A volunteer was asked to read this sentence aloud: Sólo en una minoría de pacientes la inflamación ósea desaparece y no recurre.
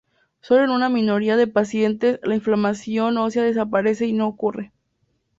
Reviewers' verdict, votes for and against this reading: rejected, 0, 2